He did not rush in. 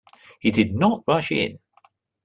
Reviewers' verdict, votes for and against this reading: accepted, 2, 0